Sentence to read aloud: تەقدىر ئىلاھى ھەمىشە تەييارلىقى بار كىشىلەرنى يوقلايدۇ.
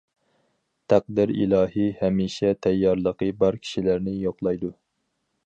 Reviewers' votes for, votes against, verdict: 4, 0, accepted